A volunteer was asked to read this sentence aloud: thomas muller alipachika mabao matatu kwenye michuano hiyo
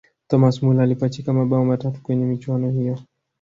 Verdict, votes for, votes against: accepted, 2, 0